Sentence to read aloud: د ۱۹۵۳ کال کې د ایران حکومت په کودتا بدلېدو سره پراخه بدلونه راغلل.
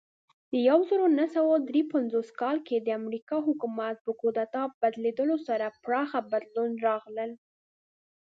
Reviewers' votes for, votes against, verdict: 0, 2, rejected